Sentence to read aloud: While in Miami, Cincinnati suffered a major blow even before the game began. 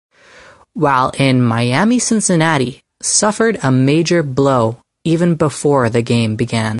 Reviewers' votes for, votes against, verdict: 2, 2, rejected